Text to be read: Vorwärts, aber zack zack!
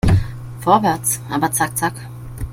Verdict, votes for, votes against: accepted, 2, 0